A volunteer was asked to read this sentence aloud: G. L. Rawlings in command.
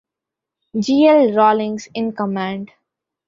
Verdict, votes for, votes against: accepted, 2, 1